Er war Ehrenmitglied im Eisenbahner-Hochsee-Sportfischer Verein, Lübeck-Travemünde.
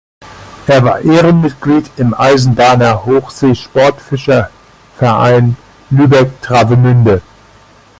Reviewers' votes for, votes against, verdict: 2, 1, accepted